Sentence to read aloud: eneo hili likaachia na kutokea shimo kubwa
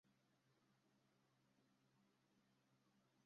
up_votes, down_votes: 0, 2